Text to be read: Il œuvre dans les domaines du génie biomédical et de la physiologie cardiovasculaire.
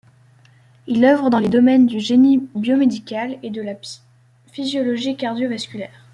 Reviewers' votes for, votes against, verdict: 0, 2, rejected